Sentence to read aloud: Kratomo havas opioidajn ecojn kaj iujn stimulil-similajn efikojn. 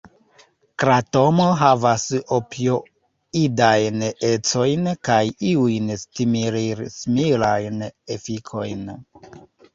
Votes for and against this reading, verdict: 1, 2, rejected